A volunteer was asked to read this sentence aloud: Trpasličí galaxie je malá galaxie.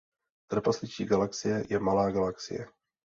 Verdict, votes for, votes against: accepted, 2, 0